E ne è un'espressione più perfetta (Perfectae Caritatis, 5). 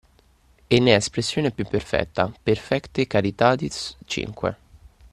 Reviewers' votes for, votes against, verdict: 0, 2, rejected